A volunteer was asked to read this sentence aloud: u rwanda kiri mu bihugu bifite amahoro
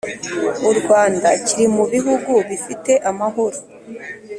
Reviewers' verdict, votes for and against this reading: accepted, 3, 0